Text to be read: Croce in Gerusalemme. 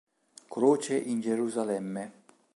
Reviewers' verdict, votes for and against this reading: accepted, 2, 0